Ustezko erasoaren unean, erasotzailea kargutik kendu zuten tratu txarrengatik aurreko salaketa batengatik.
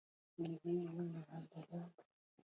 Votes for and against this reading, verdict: 0, 4, rejected